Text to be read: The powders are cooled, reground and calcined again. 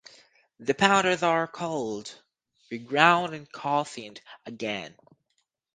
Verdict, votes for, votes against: rejected, 2, 4